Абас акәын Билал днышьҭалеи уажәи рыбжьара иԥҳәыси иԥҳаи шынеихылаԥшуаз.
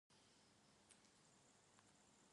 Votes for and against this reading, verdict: 1, 2, rejected